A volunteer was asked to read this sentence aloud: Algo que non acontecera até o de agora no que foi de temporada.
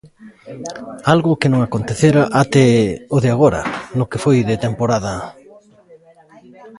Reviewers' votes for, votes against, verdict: 1, 2, rejected